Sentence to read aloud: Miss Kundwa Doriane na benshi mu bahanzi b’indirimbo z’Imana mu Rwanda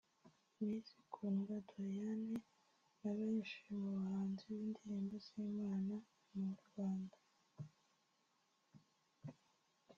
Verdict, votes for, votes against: rejected, 0, 2